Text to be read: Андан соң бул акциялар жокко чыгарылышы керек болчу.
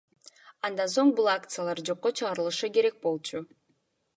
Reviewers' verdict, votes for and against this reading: accepted, 2, 1